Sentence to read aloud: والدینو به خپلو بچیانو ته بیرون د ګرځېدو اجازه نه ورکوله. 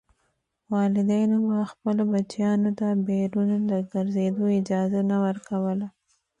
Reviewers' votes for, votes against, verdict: 1, 2, rejected